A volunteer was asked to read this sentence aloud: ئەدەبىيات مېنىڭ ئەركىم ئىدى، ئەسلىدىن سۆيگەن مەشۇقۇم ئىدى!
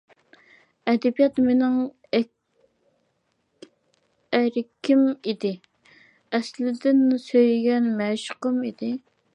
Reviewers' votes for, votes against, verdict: 0, 2, rejected